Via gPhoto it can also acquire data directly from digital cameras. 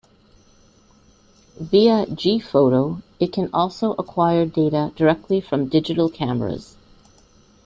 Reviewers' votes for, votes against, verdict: 2, 0, accepted